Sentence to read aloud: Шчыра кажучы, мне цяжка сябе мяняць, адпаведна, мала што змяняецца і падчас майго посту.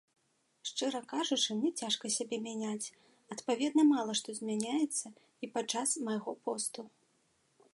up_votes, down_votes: 2, 0